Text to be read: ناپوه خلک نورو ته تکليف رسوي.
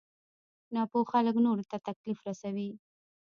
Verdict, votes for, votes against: rejected, 0, 2